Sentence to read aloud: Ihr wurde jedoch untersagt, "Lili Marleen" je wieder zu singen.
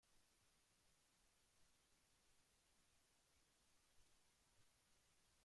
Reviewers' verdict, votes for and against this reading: rejected, 0, 2